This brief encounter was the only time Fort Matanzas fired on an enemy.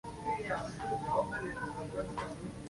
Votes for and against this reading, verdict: 0, 2, rejected